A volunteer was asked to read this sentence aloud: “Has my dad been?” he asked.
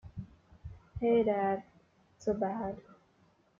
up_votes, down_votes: 0, 2